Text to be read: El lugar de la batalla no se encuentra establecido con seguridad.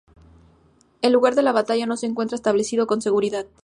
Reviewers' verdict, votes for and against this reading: rejected, 0, 2